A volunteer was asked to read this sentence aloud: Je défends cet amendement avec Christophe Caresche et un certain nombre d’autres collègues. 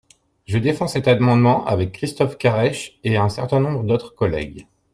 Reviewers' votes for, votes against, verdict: 1, 2, rejected